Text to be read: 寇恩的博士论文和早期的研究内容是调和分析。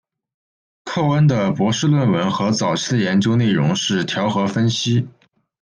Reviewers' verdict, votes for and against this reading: accepted, 2, 0